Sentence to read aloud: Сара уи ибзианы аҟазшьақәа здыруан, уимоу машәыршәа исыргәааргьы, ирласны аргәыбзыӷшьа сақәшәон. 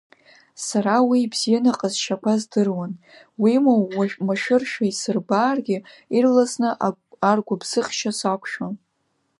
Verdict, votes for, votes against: rejected, 1, 2